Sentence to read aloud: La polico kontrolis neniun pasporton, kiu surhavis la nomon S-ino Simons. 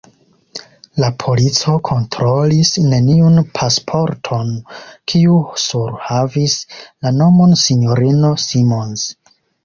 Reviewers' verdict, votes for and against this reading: accepted, 2, 1